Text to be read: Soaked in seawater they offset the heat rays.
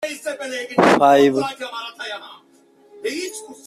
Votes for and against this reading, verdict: 0, 2, rejected